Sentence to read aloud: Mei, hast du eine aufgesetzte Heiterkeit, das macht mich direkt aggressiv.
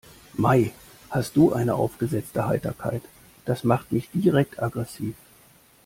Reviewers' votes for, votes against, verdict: 3, 0, accepted